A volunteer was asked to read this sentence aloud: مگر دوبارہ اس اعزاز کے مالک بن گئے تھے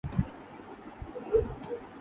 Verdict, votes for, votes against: rejected, 0, 2